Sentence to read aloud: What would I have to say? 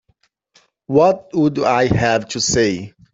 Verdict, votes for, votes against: accepted, 2, 0